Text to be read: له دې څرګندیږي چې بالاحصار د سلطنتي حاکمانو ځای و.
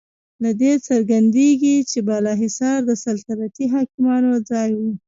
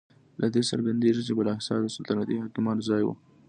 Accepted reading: second